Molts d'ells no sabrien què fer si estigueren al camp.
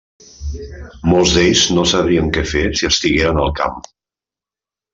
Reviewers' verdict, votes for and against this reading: rejected, 1, 2